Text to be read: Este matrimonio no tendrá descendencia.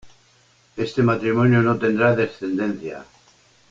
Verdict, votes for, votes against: accepted, 2, 0